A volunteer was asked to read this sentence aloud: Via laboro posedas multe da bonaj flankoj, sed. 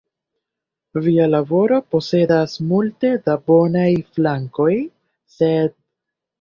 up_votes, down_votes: 1, 2